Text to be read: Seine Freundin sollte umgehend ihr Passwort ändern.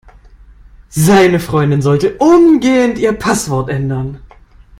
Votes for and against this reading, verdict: 2, 0, accepted